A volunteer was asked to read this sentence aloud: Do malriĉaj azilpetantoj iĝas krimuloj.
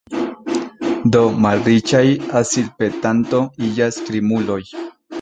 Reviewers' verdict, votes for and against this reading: rejected, 0, 2